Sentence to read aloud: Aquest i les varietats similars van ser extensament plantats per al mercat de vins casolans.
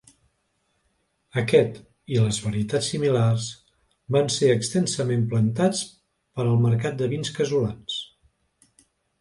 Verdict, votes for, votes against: accepted, 2, 0